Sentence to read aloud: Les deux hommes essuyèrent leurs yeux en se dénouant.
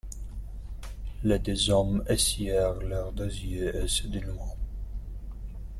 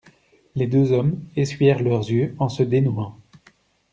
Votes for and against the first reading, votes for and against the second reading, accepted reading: 0, 2, 2, 0, second